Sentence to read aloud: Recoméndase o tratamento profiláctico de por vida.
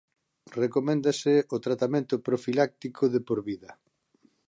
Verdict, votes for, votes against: accepted, 2, 0